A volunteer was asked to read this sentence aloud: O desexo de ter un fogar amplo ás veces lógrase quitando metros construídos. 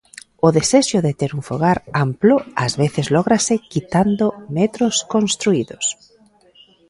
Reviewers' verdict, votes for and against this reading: accepted, 2, 0